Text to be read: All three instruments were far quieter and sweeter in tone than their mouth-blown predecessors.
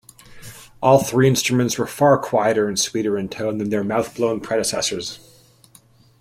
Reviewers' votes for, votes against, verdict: 2, 0, accepted